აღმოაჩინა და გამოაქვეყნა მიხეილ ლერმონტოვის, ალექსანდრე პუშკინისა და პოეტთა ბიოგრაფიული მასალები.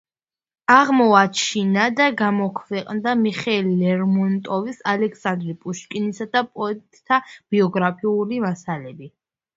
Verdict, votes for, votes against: rejected, 0, 2